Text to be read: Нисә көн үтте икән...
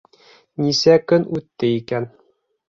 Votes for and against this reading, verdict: 3, 0, accepted